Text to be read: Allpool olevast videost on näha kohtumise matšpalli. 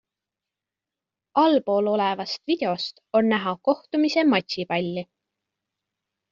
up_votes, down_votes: 1, 2